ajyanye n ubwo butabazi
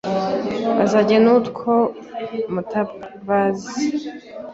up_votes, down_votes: 0, 2